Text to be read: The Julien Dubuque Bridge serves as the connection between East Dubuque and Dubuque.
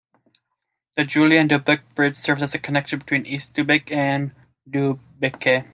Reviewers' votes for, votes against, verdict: 2, 0, accepted